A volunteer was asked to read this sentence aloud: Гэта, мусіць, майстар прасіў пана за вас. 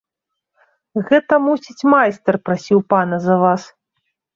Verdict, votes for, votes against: accepted, 2, 0